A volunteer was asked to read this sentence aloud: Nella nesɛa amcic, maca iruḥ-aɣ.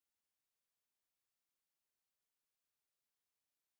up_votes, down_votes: 1, 2